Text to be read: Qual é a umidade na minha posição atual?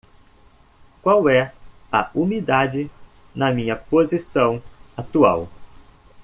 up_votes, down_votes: 2, 0